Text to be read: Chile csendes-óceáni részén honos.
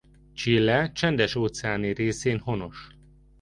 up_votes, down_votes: 3, 0